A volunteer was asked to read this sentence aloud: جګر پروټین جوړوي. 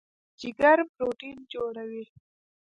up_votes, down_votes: 1, 2